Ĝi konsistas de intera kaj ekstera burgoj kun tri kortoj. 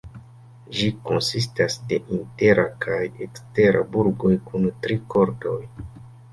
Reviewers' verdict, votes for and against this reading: rejected, 0, 2